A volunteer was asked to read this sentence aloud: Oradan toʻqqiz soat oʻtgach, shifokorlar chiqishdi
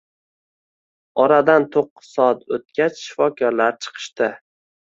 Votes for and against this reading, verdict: 1, 2, rejected